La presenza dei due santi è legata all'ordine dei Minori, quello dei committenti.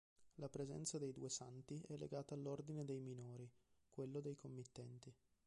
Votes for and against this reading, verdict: 2, 0, accepted